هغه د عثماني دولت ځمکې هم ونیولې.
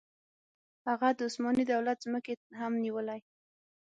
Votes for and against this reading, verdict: 3, 6, rejected